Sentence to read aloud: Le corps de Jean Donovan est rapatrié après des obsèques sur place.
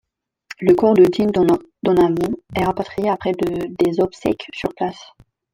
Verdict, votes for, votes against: rejected, 0, 2